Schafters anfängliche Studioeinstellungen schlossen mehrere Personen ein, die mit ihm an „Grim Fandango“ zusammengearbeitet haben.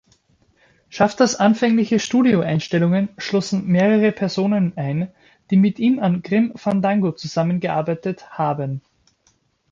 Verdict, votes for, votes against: accepted, 2, 0